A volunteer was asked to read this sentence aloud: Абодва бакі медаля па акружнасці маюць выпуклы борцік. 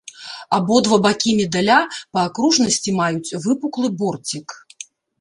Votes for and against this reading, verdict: 2, 0, accepted